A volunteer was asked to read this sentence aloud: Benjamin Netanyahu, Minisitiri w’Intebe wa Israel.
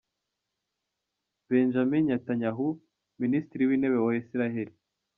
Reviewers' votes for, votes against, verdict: 2, 1, accepted